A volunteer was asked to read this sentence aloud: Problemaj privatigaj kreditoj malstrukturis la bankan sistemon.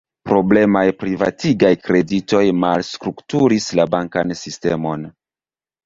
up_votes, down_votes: 2, 0